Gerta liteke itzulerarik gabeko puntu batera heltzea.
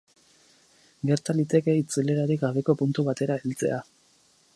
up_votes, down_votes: 4, 0